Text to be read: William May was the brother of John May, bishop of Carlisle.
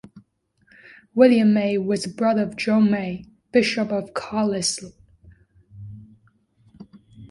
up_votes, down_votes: 1, 2